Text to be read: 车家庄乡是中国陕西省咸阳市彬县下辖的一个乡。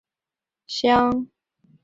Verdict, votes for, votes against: rejected, 0, 4